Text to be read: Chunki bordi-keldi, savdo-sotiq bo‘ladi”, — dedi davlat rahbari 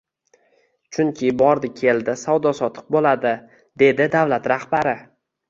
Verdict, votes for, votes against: rejected, 1, 2